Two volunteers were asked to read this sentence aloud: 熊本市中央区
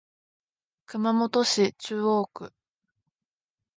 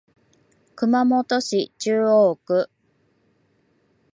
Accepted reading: second